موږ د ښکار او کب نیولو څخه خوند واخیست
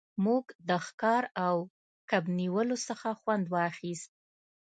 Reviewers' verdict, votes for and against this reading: accepted, 2, 0